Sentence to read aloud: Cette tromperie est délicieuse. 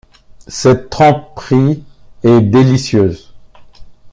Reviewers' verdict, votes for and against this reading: rejected, 0, 2